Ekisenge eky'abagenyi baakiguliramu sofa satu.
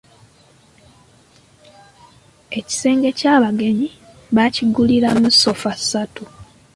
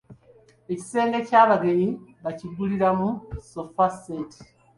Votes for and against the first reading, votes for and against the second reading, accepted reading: 2, 0, 2, 3, first